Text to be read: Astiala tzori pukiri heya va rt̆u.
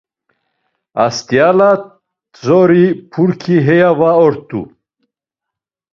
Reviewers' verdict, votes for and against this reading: rejected, 0, 2